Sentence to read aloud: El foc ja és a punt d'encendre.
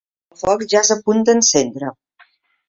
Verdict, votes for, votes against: accepted, 2, 1